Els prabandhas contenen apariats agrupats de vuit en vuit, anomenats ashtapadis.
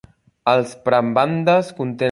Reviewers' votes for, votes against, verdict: 0, 2, rejected